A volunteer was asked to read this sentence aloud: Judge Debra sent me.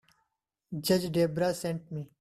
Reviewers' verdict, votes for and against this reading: accepted, 3, 0